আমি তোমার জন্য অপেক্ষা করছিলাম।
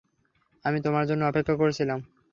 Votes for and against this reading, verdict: 3, 0, accepted